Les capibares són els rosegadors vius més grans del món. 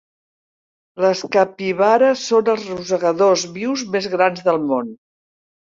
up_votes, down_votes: 3, 0